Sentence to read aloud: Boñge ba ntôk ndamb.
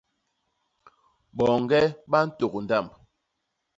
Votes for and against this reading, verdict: 2, 0, accepted